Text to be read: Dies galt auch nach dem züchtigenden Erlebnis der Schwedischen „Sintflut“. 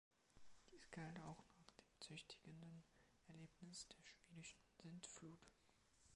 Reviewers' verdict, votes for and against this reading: accepted, 2, 0